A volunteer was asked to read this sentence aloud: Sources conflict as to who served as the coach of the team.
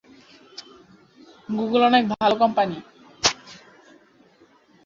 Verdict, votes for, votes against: rejected, 0, 2